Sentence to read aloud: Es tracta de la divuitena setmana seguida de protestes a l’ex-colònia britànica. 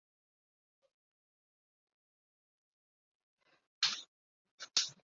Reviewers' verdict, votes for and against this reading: rejected, 1, 2